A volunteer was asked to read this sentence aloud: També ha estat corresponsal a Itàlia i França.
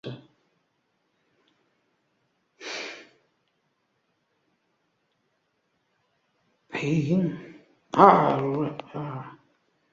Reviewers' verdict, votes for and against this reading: rejected, 1, 2